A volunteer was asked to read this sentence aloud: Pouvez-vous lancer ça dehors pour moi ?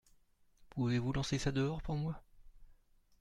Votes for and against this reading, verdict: 2, 0, accepted